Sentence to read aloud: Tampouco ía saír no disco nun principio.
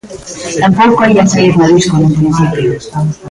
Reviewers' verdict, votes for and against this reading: rejected, 0, 2